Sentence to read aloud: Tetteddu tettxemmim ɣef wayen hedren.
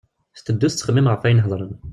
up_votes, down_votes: 1, 2